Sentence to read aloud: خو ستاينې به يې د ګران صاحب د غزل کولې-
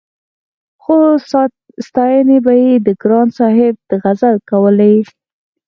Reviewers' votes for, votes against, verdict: 4, 0, accepted